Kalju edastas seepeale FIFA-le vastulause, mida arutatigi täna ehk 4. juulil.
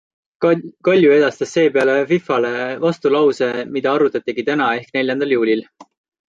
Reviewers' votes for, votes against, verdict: 0, 2, rejected